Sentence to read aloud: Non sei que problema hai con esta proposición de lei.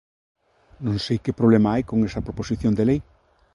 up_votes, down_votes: 1, 2